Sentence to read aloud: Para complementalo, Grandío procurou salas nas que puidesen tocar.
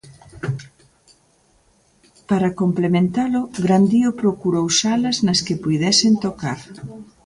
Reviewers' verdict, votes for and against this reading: accepted, 2, 0